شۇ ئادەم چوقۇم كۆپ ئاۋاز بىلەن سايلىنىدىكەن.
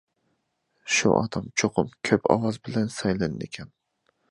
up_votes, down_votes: 2, 1